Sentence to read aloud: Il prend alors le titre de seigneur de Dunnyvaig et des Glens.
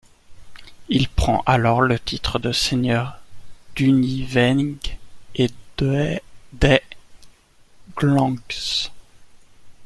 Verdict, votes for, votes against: rejected, 0, 2